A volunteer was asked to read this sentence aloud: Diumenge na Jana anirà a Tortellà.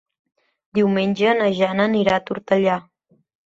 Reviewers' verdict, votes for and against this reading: accepted, 3, 0